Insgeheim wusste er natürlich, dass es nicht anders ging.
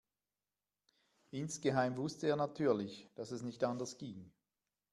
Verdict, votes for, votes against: accepted, 2, 0